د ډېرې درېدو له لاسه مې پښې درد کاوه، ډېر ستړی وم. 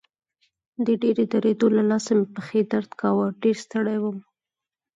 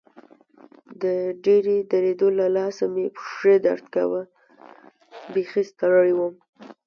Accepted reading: first